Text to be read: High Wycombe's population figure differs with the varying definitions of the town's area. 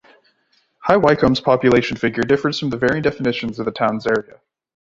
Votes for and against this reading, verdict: 2, 0, accepted